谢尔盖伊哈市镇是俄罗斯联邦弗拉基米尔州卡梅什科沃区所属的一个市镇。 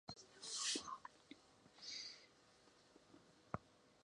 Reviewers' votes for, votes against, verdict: 0, 3, rejected